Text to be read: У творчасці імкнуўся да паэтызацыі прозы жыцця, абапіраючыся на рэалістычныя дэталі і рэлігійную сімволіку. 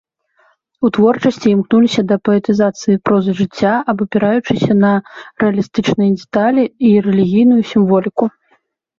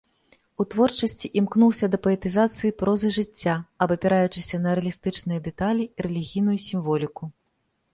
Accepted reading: second